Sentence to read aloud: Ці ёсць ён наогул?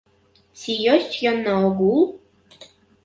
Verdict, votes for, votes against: rejected, 1, 2